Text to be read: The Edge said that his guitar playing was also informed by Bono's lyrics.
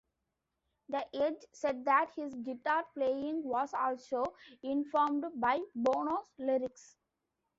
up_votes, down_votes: 2, 0